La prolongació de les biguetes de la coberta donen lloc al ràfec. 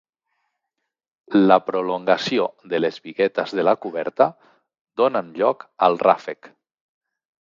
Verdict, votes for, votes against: accepted, 2, 0